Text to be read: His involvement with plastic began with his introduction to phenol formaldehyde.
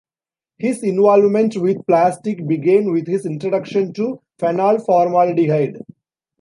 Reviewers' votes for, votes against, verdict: 1, 2, rejected